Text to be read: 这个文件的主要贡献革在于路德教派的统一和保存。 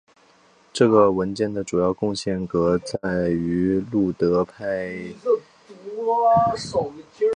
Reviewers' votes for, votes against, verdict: 0, 3, rejected